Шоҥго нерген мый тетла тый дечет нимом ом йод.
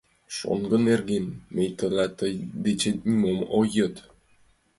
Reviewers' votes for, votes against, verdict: 2, 1, accepted